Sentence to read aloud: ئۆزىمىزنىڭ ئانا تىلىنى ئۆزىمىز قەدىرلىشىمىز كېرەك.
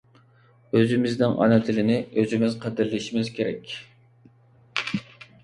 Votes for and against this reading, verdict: 2, 0, accepted